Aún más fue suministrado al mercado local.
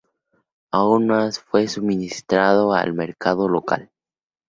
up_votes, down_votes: 2, 0